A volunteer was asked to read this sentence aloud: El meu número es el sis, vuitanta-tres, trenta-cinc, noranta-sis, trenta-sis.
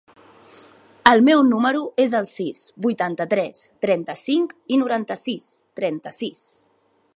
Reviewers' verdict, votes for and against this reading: accepted, 2, 0